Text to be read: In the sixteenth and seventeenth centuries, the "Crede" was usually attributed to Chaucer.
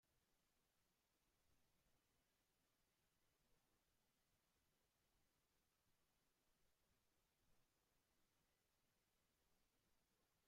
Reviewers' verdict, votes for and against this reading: rejected, 0, 2